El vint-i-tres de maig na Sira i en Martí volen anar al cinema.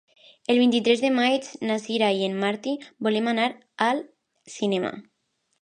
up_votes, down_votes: 0, 2